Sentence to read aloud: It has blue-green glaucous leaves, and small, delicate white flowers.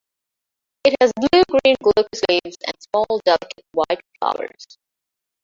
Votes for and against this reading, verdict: 0, 2, rejected